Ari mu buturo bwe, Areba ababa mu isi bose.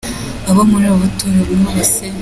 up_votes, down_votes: 0, 2